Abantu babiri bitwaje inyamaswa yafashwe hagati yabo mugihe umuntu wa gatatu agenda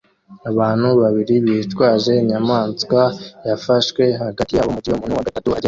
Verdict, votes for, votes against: rejected, 1, 2